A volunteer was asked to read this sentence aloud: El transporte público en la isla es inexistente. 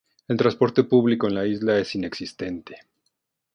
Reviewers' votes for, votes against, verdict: 2, 0, accepted